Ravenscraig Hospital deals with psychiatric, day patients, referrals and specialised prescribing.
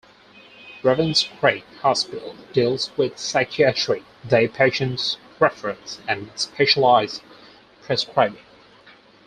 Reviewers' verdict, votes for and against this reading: rejected, 0, 4